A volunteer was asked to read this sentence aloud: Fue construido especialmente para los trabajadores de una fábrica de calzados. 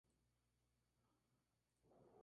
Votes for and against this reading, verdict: 0, 2, rejected